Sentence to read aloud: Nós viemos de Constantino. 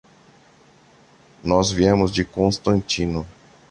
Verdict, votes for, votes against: accepted, 2, 0